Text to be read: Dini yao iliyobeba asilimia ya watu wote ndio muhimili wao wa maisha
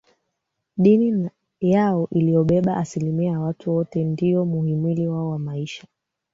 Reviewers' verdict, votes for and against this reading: rejected, 1, 2